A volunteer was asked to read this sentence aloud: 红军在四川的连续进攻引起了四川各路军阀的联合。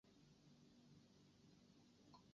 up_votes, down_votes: 0, 3